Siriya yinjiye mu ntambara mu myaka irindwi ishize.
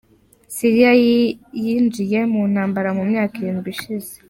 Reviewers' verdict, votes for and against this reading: rejected, 0, 2